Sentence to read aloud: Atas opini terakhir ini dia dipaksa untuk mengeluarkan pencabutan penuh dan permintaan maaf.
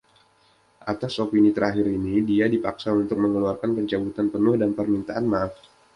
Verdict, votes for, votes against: accepted, 2, 0